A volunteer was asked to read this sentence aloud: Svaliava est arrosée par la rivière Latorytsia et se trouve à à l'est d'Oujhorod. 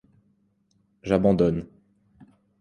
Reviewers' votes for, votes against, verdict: 1, 2, rejected